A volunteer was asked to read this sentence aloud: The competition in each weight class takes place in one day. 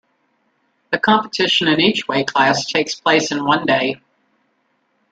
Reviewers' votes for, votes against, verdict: 1, 2, rejected